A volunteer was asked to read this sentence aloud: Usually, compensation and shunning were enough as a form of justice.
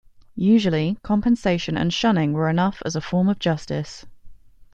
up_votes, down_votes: 2, 0